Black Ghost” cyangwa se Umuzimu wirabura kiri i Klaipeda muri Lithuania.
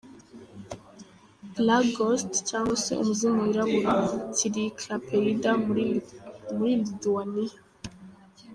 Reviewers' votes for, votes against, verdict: 0, 2, rejected